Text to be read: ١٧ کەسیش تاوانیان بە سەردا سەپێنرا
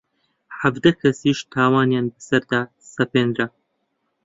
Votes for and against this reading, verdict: 0, 2, rejected